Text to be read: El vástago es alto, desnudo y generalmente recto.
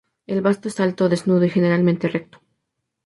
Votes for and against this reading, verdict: 0, 2, rejected